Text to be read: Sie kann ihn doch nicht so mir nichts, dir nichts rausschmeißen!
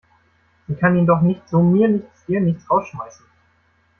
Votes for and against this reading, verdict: 2, 1, accepted